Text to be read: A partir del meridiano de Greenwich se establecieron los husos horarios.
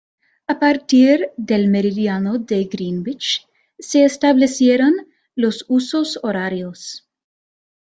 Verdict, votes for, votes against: accepted, 2, 1